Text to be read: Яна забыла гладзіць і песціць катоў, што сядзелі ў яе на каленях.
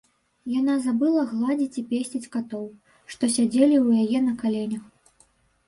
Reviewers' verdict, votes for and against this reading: accepted, 2, 0